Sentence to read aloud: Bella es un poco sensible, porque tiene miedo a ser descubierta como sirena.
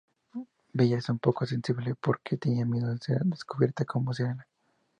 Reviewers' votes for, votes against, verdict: 2, 0, accepted